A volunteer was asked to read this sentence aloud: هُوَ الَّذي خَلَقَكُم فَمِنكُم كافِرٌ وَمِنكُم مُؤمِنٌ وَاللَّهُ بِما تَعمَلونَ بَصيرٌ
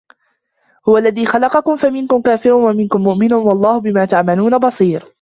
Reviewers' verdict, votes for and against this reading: rejected, 1, 2